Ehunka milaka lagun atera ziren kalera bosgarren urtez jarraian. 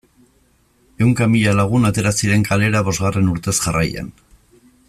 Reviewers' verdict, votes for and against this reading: rejected, 1, 3